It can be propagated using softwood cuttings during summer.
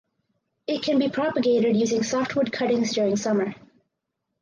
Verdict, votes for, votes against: accepted, 6, 2